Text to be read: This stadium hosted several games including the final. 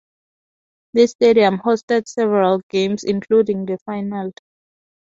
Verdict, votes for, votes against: rejected, 2, 2